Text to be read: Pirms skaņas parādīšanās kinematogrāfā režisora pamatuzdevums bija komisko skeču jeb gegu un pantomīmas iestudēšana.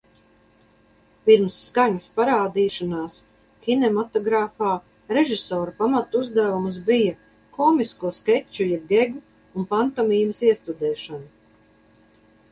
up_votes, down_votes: 4, 0